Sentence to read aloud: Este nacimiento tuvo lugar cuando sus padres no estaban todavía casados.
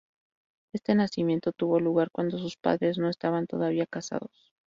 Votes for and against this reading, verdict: 0, 2, rejected